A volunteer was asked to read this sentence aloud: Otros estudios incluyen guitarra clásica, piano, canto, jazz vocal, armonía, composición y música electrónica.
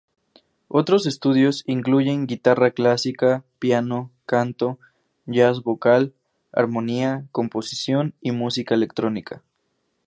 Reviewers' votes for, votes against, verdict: 2, 0, accepted